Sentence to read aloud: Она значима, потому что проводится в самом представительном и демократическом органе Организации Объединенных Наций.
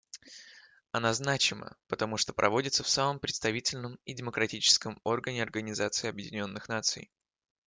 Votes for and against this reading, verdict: 2, 0, accepted